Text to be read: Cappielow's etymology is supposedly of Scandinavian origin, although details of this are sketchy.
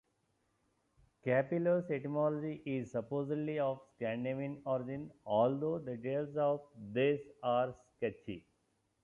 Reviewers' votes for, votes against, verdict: 1, 2, rejected